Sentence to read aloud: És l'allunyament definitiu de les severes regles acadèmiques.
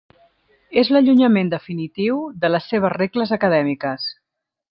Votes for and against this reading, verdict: 0, 2, rejected